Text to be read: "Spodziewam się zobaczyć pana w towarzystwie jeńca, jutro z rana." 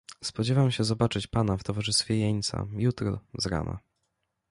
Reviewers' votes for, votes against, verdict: 2, 0, accepted